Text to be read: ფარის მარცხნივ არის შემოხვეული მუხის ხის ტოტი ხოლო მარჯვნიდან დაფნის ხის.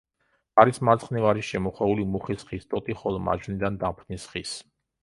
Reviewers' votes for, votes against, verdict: 1, 2, rejected